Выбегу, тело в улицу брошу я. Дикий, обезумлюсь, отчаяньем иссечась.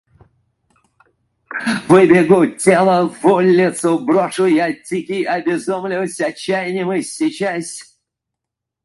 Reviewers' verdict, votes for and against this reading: rejected, 0, 4